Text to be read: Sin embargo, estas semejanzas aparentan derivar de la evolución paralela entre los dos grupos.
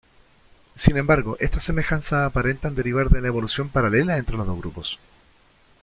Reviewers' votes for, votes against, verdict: 1, 2, rejected